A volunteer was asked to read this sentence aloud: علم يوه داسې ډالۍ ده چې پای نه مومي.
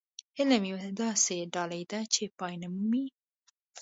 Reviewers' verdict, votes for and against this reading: accepted, 2, 1